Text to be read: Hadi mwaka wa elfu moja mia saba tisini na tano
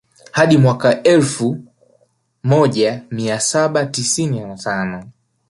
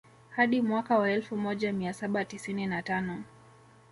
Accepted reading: first